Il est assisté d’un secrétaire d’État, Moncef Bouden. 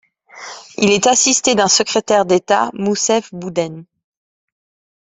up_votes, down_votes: 1, 2